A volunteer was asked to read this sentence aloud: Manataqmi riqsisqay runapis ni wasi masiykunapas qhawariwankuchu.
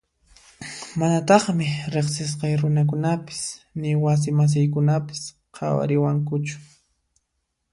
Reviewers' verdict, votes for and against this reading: accepted, 2, 1